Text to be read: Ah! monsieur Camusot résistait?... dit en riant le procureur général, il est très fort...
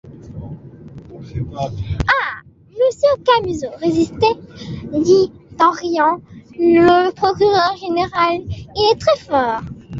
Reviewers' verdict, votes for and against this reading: rejected, 0, 2